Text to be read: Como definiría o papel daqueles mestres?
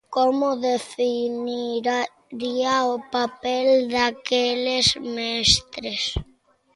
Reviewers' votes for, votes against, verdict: 0, 2, rejected